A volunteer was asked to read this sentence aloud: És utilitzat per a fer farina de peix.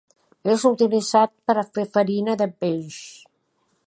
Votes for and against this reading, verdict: 2, 0, accepted